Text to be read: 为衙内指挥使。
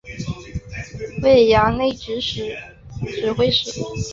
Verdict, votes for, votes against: accepted, 3, 2